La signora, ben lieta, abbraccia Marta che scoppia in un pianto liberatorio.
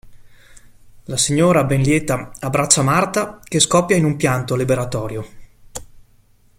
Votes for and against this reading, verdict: 2, 0, accepted